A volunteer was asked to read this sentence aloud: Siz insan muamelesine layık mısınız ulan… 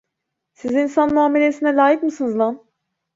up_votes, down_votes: 0, 2